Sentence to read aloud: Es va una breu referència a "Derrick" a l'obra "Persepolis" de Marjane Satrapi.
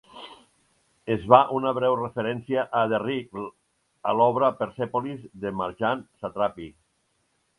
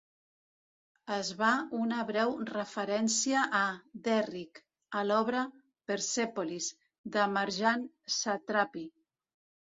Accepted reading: second